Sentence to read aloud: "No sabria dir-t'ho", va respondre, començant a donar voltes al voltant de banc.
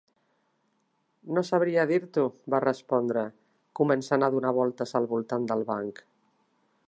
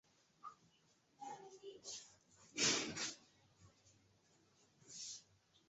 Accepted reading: first